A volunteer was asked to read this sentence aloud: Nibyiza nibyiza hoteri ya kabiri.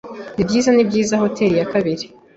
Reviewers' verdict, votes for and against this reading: accepted, 2, 0